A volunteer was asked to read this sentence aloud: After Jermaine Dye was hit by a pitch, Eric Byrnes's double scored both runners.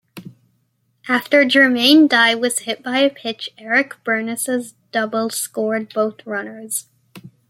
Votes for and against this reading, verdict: 1, 2, rejected